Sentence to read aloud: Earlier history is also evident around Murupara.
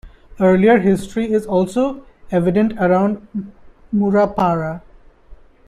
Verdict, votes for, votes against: rejected, 0, 2